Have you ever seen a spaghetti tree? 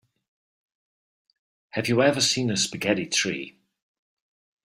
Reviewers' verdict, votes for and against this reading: accepted, 2, 0